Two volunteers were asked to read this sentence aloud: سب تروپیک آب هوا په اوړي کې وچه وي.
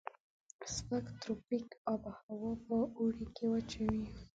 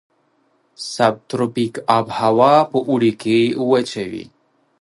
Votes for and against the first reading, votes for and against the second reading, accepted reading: 1, 2, 2, 0, second